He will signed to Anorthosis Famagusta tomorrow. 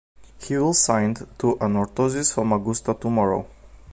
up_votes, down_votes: 2, 0